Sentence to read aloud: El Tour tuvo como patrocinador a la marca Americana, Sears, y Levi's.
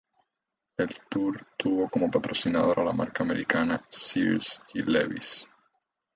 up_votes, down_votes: 0, 2